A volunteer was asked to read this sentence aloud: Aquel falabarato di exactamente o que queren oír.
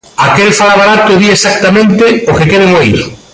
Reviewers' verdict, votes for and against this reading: rejected, 0, 2